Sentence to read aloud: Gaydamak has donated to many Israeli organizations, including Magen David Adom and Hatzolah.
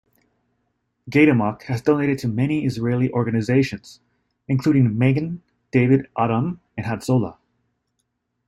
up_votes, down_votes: 2, 0